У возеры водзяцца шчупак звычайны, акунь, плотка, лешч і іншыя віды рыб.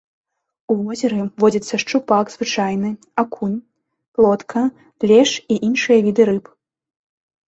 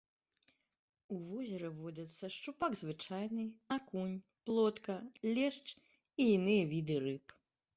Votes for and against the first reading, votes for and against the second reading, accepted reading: 2, 0, 0, 2, first